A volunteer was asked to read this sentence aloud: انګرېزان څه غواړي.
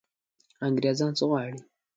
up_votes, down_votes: 2, 0